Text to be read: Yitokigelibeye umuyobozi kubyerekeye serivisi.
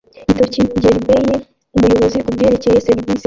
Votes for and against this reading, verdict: 0, 2, rejected